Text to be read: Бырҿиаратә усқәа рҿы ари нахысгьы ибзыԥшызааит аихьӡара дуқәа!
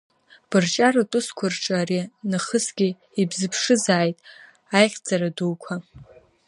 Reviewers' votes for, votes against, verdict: 1, 2, rejected